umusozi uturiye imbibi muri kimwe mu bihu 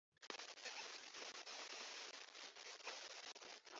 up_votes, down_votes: 1, 4